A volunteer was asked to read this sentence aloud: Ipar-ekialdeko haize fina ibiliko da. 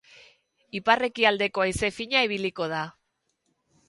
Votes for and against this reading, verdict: 4, 0, accepted